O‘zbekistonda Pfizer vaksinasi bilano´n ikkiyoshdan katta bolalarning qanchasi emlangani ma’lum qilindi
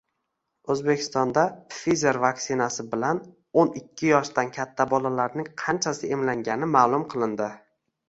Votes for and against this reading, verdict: 1, 2, rejected